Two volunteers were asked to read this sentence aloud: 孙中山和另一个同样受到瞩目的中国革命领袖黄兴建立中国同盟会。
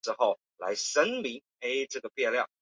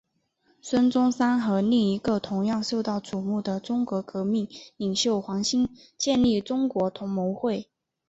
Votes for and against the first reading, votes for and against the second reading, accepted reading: 0, 2, 2, 0, second